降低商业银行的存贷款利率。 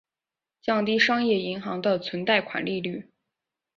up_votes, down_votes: 2, 0